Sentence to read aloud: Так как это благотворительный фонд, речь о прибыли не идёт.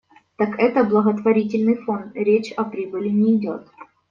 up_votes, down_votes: 0, 2